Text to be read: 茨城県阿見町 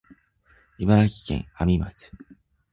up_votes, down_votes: 2, 1